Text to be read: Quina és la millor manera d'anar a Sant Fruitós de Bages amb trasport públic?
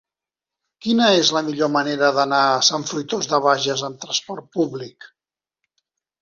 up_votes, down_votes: 3, 0